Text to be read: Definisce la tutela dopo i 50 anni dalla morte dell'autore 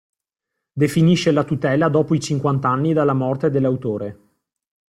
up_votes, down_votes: 0, 2